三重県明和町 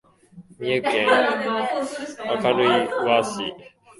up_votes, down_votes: 0, 2